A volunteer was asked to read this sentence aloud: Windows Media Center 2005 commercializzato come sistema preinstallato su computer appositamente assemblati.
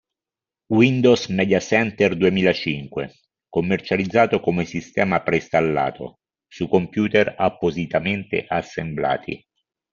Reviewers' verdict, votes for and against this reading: rejected, 0, 2